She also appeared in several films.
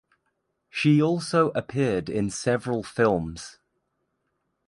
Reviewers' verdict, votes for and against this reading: accepted, 2, 0